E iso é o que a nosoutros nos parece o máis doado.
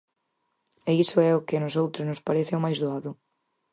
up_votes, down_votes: 4, 0